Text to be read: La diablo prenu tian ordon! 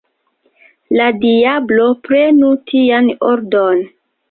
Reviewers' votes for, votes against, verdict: 3, 2, accepted